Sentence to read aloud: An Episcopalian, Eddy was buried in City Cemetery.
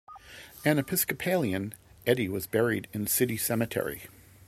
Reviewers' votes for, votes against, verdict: 2, 0, accepted